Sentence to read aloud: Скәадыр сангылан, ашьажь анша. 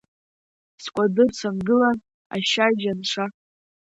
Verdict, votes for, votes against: rejected, 0, 2